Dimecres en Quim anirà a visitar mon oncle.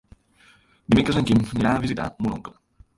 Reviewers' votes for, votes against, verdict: 0, 2, rejected